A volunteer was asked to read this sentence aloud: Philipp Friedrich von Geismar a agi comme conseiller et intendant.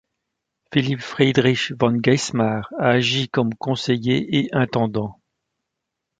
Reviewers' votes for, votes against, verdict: 2, 0, accepted